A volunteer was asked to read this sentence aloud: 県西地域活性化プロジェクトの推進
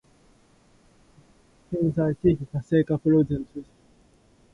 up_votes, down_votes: 14, 25